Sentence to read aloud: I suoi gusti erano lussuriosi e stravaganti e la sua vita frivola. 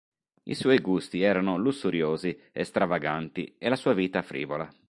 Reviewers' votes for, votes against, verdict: 2, 0, accepted